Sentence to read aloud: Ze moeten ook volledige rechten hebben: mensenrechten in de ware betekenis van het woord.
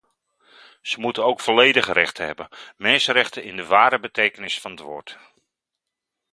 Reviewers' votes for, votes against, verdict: 2, 0, accepted